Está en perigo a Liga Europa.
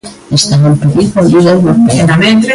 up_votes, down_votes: 0, 2